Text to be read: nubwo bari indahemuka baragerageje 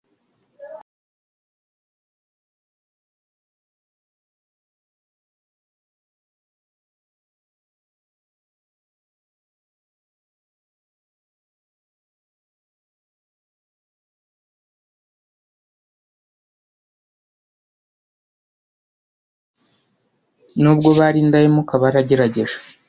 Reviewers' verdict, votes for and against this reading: rejected, 0, 2